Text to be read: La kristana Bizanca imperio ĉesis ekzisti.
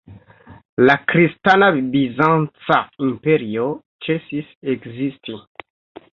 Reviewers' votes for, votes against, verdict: 0, 2, rejected